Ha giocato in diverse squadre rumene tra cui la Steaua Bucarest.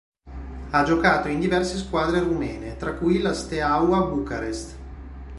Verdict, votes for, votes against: accepted, 3, 0